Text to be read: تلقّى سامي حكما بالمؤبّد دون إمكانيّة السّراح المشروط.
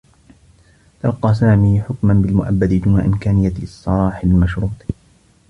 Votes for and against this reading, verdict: 0, 2, rejected